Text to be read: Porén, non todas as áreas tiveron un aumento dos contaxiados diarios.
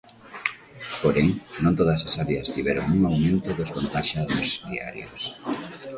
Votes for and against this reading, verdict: 2, 0, accepted